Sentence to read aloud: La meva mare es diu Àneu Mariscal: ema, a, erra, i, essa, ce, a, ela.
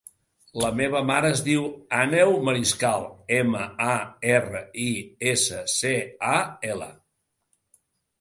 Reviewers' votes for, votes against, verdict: 4, 0, accepted